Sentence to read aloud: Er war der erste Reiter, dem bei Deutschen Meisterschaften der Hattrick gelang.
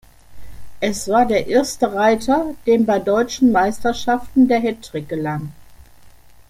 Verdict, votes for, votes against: rejected, 1, 2